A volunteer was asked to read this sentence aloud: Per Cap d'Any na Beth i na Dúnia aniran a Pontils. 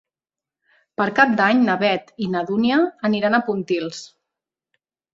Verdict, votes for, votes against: accepted, 3, 0